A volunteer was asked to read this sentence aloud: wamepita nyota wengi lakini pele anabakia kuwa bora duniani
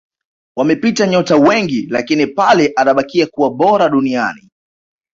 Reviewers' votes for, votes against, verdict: 2, 0, accepted